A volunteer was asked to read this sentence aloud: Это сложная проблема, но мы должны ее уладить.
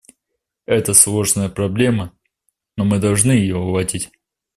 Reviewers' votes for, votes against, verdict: 2, 0, accepted